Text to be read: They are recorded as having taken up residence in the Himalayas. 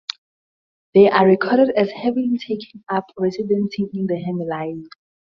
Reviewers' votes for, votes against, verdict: 2, 2, rejected